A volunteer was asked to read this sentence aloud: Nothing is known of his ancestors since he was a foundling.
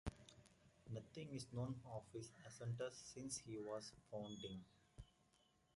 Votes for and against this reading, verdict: 0, 2, rejected